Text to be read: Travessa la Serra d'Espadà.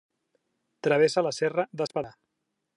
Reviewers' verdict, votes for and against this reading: accepted, 2, 1